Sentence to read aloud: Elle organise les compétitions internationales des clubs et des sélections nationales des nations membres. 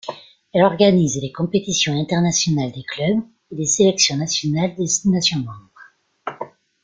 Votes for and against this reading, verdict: 2, 1, accepted